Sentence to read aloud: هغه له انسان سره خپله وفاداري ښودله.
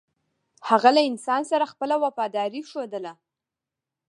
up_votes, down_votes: 2, 1